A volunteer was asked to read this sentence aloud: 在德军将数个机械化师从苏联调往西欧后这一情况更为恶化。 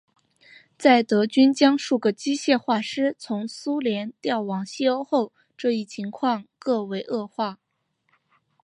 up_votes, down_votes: 2, 0